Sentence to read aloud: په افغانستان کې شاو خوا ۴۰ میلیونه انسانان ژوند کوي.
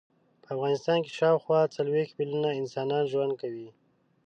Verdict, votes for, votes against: rejected, 0, 2